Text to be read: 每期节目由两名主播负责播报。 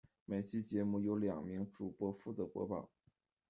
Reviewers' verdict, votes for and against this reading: accepted, 2, 0